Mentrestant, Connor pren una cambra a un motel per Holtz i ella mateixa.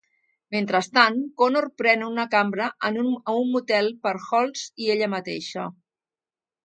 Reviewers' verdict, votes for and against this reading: rejected, 0, 2